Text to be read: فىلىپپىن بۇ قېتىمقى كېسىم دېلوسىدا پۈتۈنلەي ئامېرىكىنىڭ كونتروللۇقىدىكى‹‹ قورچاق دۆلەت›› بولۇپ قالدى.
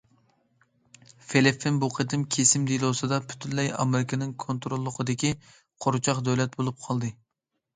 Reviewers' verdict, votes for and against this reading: rejected, 1, 2